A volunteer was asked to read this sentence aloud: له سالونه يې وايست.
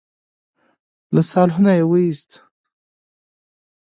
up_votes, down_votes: 2, 0